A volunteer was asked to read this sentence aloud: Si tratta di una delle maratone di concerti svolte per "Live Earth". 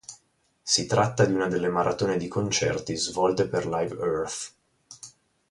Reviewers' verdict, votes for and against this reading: accepted, 4, 0